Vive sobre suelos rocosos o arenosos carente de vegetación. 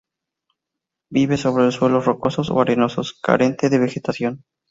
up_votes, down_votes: 0, 2